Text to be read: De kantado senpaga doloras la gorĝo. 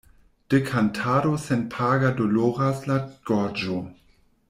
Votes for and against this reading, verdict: 2, 1, accepted